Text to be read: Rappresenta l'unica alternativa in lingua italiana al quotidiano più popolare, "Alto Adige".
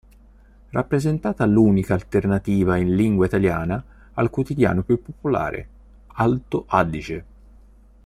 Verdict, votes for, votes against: rejected, 0, 2